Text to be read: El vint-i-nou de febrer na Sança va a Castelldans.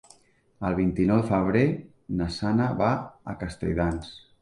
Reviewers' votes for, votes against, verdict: 0, 3, rejected